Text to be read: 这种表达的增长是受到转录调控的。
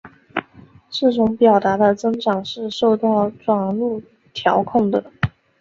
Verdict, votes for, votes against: accepted, 2, 0